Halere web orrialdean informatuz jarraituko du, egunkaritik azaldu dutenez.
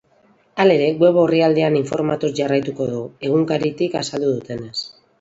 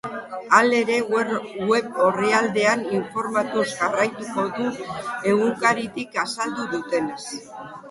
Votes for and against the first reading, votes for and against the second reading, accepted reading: 4, 0, 0, 2, first